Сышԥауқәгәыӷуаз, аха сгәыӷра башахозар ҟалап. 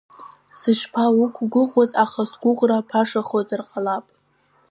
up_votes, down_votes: 2, 0